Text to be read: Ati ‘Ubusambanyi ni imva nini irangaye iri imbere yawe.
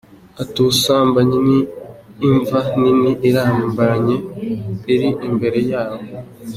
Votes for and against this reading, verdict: 0, 2, rejected